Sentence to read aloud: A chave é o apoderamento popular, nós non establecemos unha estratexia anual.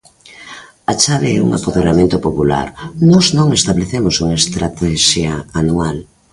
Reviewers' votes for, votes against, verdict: 0, 2, rejected